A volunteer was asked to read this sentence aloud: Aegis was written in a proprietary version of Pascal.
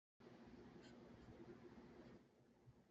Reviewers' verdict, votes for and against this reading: rejected, 0, 2